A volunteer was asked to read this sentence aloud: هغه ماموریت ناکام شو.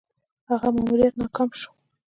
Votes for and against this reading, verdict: 2, 0, accepted